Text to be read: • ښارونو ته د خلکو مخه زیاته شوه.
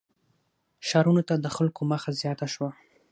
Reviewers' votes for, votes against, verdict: 0, 6, rejected